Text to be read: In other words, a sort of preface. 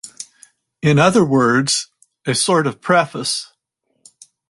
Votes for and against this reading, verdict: 4, 0, accepted